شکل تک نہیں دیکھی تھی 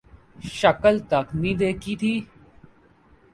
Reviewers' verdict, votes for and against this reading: accepted, 6, 0